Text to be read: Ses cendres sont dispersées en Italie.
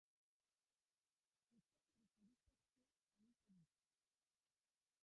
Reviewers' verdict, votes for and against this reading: rejected, 0, 2